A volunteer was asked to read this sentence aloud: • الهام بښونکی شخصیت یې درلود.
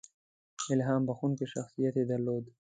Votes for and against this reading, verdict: 2, 0, accepted